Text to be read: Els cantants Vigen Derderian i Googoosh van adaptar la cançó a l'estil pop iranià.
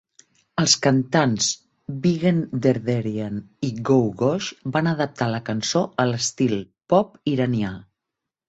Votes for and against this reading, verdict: 2, 0, accepted